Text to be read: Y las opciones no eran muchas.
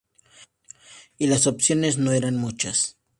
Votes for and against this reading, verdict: 2, 0, accepted